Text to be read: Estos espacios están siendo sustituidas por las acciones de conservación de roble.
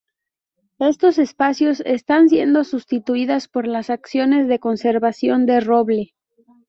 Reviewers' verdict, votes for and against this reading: accepted, 4, 0